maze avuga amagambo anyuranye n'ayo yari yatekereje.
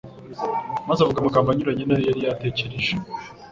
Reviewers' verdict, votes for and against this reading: accepted, 2, 0